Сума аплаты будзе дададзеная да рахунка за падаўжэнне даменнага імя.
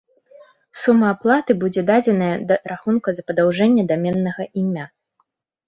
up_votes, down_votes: 0, 2